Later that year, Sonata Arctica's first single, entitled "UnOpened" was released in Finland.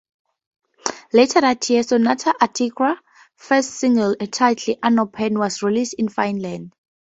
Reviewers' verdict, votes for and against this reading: accepted, 2, 0